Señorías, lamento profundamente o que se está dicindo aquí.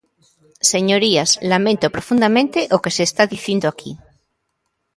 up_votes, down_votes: 2, 0